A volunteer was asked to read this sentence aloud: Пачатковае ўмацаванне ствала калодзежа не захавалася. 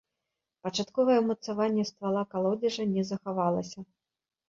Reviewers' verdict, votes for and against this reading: accepted, 2, 0